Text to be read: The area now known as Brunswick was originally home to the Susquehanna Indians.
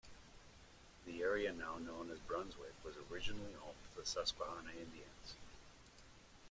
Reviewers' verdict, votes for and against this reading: rejected, 1, 2